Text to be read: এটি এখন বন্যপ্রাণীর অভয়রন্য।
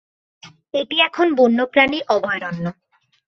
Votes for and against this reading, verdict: 2, 0, accepted